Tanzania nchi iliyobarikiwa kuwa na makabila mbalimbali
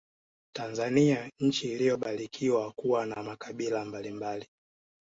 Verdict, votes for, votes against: accepted, 2, 0